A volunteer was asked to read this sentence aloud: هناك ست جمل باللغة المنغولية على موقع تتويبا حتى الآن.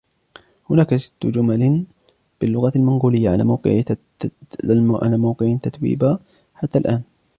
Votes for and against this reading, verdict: 2, 3, rejected